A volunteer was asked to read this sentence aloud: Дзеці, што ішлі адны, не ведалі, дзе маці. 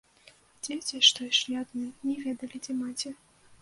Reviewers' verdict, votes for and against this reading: accepted, 2, 0